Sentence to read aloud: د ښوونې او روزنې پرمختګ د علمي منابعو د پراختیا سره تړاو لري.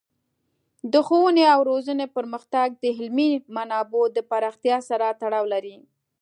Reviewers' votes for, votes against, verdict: 2, 0, accepted